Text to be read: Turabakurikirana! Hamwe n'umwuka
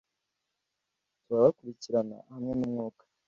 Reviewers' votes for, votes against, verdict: 2, 0, accepted